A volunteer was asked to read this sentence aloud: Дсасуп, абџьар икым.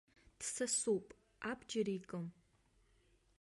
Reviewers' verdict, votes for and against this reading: rejected, 0, 2